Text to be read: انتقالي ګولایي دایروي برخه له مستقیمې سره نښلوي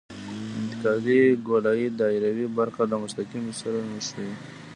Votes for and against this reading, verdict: 0, 2, rejected